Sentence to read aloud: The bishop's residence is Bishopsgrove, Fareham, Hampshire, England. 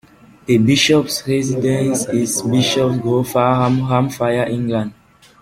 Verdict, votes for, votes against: rejected, 0, 2